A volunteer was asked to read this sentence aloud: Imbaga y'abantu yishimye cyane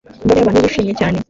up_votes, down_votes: 0, 2